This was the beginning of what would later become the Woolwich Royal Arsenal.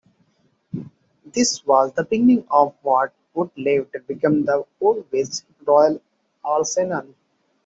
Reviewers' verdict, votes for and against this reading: rejected, 0, 2